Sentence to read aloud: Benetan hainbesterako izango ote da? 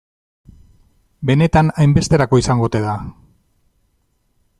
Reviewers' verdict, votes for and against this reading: accepted, 2, 0